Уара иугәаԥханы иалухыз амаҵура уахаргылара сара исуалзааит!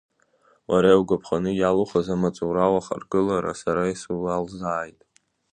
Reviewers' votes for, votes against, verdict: 1, 2, rejected